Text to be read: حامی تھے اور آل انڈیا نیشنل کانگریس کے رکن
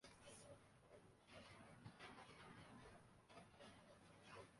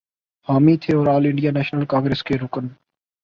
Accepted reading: second